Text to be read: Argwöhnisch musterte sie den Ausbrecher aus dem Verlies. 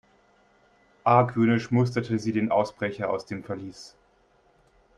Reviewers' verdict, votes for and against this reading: accepted, 3, 0